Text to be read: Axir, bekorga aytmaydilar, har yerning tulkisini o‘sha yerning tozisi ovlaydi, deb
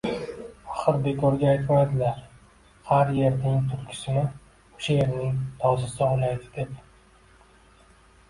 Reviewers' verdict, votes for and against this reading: accepted, 2, 1